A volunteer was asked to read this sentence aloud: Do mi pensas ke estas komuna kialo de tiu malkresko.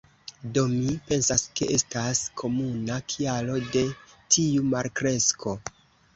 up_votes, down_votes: 2, 0